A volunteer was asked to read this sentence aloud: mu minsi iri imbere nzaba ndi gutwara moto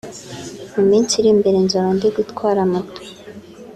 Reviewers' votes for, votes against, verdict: 2, 0, accepted